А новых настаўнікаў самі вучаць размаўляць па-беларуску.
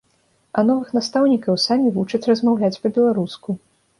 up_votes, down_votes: 2, 0